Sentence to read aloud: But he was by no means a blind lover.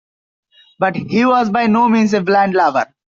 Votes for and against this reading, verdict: 3, 0, accepted